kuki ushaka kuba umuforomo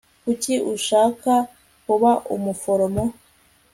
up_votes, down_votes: 2, 0